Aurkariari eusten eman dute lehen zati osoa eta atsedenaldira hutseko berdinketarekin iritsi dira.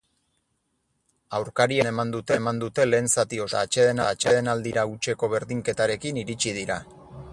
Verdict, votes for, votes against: rejected, 0, 2